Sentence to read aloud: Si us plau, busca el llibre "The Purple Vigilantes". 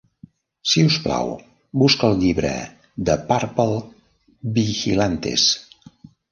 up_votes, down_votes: 1, 2